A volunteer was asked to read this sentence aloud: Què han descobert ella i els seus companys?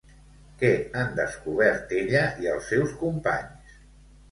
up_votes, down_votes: 2, 0